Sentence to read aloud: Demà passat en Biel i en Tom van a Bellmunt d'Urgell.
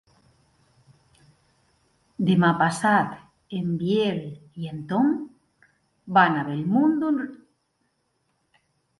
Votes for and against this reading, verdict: 0, 2, rejected